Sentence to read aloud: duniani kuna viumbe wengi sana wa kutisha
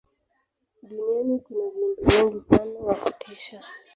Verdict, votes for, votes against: accepted, 3, 2